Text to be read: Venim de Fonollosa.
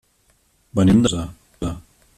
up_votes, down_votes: 1, 3